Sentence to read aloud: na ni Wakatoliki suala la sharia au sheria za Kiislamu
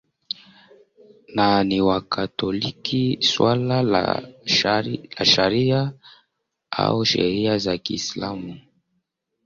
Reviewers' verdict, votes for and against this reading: rejected, 0, 2